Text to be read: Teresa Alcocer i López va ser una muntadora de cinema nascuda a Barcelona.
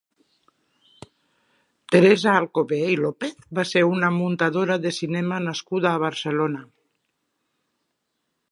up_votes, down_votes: 0, 2